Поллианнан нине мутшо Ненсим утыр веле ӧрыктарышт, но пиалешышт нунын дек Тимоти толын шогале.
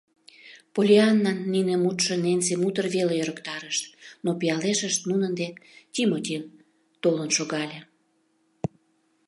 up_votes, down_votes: 2, 0